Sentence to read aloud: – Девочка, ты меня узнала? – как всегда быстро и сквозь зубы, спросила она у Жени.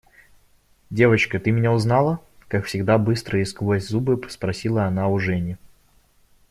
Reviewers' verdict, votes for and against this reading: rejected, 0, 2